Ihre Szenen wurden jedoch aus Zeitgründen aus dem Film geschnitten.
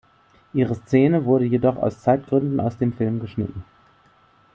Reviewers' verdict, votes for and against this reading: rejected, 1, 2